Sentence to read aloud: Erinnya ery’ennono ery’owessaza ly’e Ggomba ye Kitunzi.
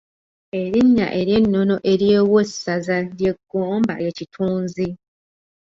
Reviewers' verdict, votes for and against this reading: rejected, 1, 2